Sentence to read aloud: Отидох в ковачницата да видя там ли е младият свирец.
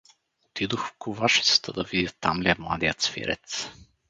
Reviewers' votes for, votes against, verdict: 0, 4, rejected